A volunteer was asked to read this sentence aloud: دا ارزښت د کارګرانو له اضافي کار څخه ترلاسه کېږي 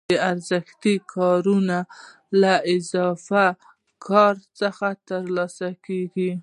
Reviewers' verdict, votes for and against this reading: accepted, 2, 0